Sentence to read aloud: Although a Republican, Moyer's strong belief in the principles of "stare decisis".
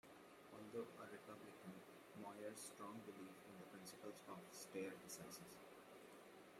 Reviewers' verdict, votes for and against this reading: accepted, 2, 1